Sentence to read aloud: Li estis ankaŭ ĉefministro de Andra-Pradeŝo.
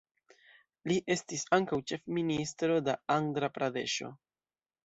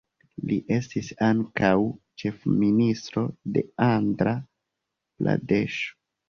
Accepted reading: first